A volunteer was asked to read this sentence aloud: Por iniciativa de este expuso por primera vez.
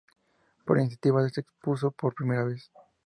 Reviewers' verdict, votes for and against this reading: accepted, 4, 0